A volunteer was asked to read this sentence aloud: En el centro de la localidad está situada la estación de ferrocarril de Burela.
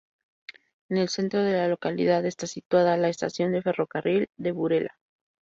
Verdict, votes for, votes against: accepted, 2, 0